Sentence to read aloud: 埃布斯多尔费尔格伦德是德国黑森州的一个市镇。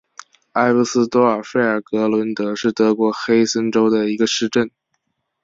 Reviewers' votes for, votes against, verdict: 2, 0, accepted